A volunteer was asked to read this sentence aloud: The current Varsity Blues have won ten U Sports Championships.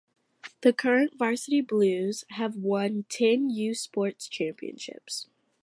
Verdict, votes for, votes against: accepted, 2, 0